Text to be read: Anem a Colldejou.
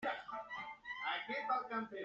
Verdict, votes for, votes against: rejected, 0, 2